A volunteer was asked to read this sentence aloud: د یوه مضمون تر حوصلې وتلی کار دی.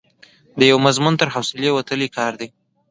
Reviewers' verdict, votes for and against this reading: accepted, 2, 0